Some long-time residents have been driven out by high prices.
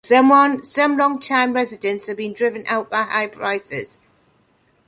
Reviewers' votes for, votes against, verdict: 0, 2, rejected